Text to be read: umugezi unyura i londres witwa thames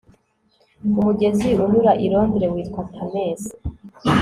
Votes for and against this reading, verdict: 4, 0, accepted